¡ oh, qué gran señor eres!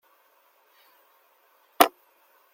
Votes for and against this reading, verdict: 0, 2, rejected